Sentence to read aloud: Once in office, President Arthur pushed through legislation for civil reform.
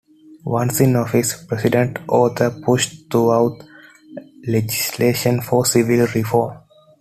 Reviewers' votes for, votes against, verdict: 1, 2, rejected